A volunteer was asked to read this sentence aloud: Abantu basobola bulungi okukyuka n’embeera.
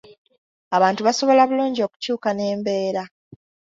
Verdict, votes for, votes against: accepted, 2, 0